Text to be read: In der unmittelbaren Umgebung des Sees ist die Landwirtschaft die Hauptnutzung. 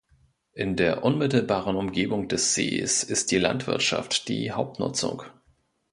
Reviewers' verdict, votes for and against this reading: accepted, 2, 0